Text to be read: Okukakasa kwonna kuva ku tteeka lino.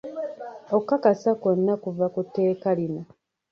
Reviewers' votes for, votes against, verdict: 1, 2, rejected